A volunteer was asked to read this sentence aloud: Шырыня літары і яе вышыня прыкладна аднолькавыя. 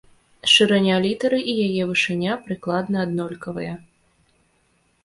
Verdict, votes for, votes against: rejected, 1, 2